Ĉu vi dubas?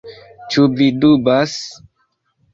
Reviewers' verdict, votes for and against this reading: accepted, 2, 0